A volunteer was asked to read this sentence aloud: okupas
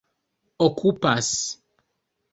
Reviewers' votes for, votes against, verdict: 1, 2, rejected